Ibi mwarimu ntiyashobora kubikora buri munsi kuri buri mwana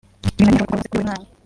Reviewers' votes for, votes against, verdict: 1, 2, rejected